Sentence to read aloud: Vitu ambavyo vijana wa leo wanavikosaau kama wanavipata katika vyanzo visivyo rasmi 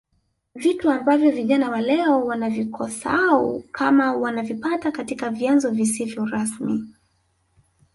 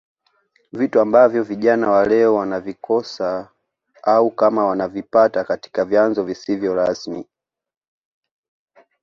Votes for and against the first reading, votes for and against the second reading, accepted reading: 1, 2, 2, 0, second